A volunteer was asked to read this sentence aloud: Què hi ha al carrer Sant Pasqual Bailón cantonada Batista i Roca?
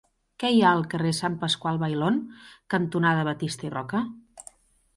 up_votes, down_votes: 2, 0